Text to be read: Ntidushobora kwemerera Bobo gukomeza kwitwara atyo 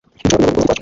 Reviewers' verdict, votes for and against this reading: rejected, 0, 2